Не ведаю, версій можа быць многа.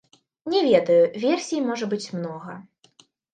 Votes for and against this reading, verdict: 2, 1, accepted